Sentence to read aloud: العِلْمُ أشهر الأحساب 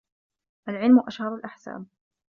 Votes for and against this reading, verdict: 2, 0, accepted